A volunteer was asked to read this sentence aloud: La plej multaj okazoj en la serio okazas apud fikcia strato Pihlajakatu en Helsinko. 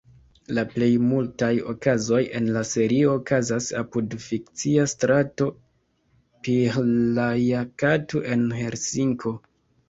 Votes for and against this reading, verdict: 1, 2, rejected